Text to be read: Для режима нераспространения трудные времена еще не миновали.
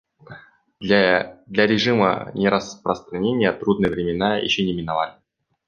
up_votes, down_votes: 0, 2